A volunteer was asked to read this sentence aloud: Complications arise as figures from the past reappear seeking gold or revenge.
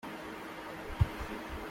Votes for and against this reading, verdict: 0, 2, rejected